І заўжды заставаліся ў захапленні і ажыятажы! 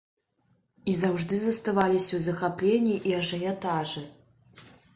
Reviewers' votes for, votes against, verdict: 2, 0, accepted